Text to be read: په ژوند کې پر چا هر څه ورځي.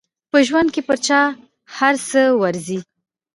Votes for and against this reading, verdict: 2, 1, accepted